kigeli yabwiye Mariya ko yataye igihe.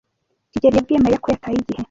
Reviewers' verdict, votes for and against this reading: rejected, 0, 2